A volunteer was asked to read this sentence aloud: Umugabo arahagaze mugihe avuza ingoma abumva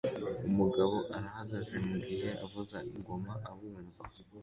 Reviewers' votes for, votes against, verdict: 2, 0, accepted